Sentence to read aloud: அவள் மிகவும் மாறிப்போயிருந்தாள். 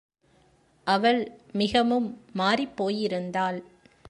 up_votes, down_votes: 2, 0